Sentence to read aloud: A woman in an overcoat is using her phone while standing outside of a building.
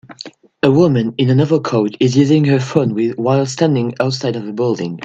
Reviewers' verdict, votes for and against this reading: accepted, 2, 1